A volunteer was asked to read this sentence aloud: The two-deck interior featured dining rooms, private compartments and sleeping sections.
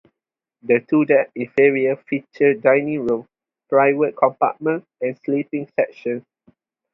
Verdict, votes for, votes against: rejected, 0, 2